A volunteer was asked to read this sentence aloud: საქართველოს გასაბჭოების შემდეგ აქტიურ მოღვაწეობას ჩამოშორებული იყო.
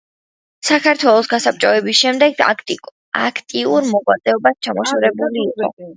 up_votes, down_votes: 2, 0